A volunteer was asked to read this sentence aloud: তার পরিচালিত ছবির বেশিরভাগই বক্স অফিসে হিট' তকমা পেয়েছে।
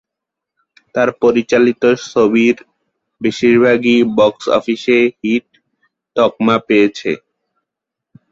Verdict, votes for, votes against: rejected, 2, 2